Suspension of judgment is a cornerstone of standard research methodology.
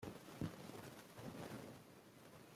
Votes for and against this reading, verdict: 0, 3, rejected